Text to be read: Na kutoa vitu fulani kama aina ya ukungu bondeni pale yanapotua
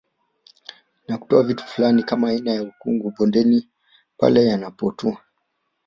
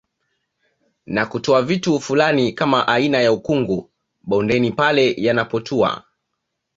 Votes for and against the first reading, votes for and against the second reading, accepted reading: 1, 2, 2, 0, second